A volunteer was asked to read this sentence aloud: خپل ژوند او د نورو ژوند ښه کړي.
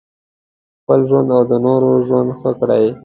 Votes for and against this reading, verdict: 2, 0, accepted